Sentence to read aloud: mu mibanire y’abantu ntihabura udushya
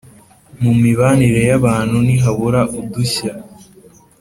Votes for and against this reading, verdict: 2, 0, accepted